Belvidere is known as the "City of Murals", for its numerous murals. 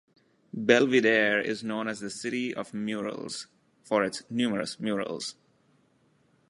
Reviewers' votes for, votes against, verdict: 2, 0, accepted